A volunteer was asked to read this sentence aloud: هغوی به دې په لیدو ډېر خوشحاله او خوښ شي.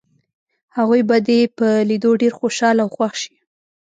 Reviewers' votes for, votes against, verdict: 2, 0, accepted